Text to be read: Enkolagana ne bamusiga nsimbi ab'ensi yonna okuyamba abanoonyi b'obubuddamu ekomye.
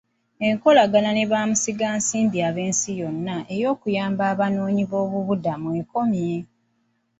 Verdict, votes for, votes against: accepted, 2, 0